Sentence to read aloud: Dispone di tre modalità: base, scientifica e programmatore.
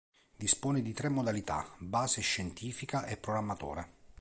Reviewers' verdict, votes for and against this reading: accepted, 3, 0